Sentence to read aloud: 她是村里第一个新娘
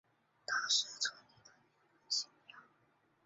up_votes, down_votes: 0, 2